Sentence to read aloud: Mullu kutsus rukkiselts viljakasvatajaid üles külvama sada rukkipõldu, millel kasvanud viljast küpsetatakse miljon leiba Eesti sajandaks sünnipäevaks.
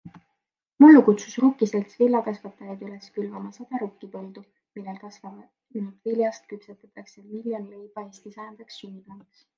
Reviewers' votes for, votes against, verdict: 2, 1, accepted